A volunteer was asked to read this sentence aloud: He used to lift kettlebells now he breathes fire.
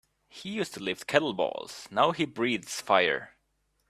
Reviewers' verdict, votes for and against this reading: rejected, 0, 2